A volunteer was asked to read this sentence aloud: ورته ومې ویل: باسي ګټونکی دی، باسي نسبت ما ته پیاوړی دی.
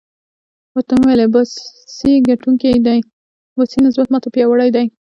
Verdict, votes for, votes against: rejected, 0, 2